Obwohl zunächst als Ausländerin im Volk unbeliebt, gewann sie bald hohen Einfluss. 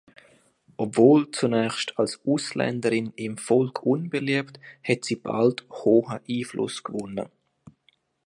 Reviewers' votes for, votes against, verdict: 0, 2, rejected